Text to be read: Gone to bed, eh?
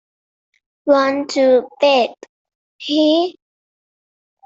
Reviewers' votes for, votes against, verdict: 0, 2, rejected